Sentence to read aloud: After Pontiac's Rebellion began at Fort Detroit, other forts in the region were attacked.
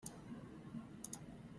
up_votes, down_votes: 0, 2